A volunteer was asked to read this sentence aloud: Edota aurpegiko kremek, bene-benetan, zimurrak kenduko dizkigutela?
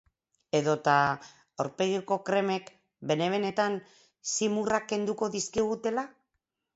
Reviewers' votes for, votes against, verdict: 4, 0, accepted